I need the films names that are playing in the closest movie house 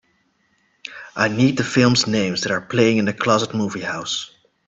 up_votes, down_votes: 2, 0